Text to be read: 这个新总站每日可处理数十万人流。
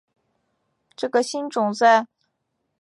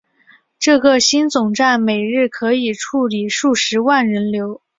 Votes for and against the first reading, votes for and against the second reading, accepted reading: 0, 2, 4, 1, second